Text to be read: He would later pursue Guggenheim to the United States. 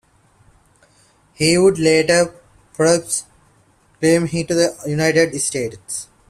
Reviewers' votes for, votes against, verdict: 1, 2, rejected